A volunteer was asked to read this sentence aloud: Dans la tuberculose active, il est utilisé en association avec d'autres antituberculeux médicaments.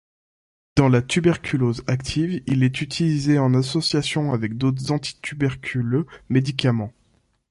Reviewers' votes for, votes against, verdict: 2, 0, accepted